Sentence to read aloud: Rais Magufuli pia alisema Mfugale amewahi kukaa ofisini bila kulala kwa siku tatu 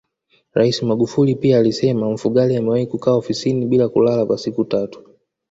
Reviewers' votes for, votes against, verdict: 2, 0, accepted